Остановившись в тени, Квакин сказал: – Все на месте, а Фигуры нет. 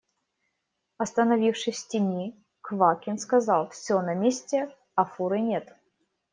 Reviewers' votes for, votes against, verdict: 0, 2, rejected